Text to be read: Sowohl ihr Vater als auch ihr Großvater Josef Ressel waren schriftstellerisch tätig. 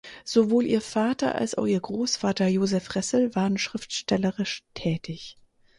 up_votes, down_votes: 4, 0